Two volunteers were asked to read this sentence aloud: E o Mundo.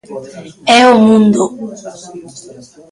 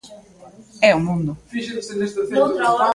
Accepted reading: first